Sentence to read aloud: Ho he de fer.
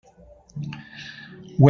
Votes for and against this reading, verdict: 0, 2, rejected